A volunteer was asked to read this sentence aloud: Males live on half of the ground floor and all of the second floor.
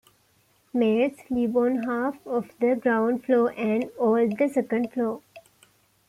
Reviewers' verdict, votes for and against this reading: accepted, 2, 1